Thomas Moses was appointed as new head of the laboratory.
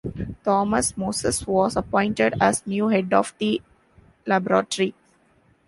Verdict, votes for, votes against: rejected, 1, 2